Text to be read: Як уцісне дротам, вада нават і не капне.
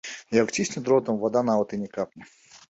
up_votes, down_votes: 2, 0